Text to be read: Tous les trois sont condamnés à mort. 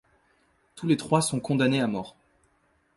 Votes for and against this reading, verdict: 2, 1, accepted